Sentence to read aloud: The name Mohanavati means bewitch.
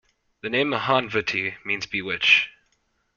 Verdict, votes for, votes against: rejected, 0, 2